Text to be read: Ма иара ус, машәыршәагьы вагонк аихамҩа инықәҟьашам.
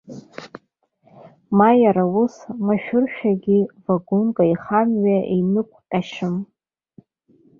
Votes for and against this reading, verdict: 1, 2, rejected